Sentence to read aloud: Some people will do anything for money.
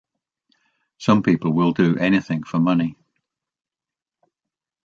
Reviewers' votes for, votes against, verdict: 2, 0, accepted